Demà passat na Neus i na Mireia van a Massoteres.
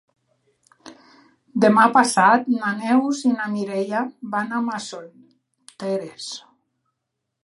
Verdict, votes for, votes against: rejected, 1, 2